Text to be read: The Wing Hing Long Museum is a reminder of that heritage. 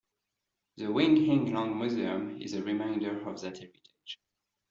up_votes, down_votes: 2, 0